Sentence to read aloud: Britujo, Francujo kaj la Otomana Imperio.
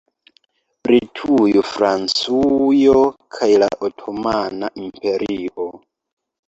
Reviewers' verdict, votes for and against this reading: accepted, 2, 1